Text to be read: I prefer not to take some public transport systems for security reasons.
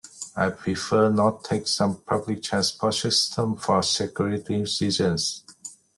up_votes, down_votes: 0, 2